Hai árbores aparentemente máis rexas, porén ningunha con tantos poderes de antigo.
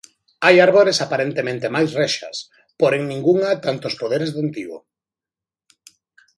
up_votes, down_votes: 1, 2